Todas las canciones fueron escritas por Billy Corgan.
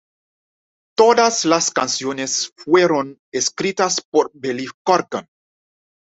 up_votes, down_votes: 2, 0